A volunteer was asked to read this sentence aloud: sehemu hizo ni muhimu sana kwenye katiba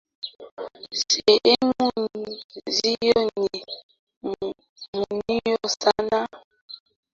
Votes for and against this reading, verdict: 0, 2, rejected